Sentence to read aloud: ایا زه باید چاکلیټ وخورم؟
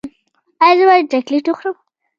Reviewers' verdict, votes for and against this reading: accepted, 2, 0